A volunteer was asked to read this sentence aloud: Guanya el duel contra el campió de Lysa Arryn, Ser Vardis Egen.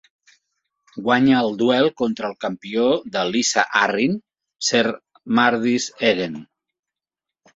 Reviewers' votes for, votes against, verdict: 0, 2, rejected